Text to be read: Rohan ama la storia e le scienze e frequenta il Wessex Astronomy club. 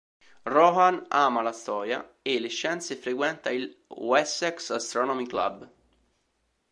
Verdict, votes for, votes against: accepted, 2, 0